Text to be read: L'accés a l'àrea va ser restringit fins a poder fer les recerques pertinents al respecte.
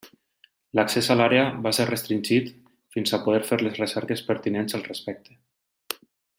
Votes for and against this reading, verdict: 3, 0, accepted